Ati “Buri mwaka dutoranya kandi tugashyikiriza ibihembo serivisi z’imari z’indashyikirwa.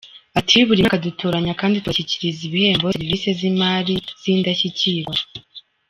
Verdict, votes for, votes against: rejected, 0, 2